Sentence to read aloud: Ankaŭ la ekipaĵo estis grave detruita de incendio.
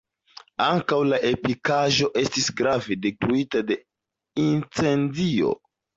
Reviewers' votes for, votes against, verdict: 2, 0, accepted